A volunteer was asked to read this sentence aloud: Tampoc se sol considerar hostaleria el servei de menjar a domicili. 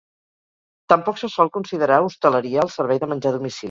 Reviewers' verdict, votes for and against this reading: rejected, 0, 4